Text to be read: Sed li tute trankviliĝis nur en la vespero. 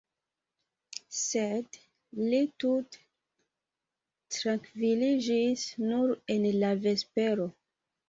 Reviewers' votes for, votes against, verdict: 1, 2, rejected